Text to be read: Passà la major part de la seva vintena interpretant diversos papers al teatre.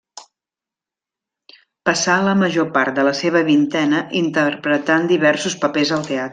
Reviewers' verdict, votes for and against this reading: rejected, 0, 2